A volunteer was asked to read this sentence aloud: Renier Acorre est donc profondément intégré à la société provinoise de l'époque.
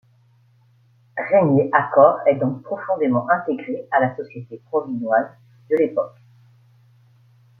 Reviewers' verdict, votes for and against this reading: accepted, 2, 0